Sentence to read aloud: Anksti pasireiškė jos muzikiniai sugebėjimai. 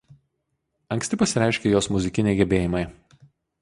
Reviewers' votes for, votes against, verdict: 0, 2, rejected